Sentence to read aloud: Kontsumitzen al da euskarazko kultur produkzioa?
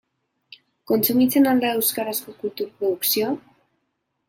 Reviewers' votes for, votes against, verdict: 1, 2, rejected